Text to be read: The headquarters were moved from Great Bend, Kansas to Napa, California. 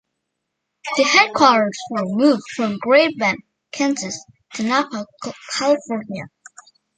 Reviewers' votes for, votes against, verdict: 0, 2, rejected